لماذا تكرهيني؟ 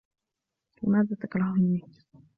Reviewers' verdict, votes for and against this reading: accepted, 2, 0